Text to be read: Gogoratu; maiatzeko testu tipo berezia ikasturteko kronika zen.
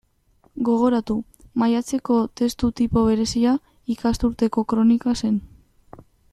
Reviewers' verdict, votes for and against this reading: accepted, 2, 0